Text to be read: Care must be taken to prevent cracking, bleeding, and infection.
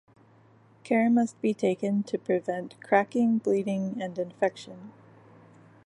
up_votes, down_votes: 2, 0